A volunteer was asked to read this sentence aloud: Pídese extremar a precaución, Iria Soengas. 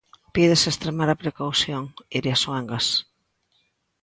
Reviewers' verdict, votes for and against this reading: accepted, 2, 1